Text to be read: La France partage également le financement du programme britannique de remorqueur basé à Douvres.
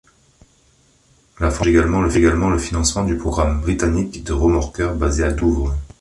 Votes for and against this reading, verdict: 0, 2, rejected